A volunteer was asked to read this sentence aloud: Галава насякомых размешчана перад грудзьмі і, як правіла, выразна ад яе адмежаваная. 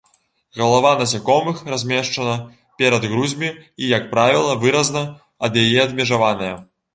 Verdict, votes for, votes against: rejected, 1, 2